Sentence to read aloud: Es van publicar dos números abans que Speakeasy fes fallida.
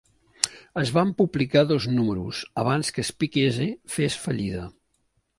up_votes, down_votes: 2, 1